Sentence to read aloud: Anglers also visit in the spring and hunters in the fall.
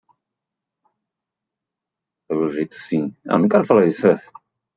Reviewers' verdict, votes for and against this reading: rejected, 0, 2